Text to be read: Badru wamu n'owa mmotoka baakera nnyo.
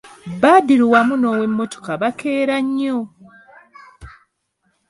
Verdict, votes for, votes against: rejected, 1, 2